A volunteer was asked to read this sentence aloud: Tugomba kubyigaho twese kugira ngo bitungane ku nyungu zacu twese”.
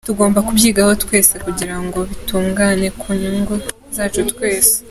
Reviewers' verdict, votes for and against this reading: accepted, 2, 0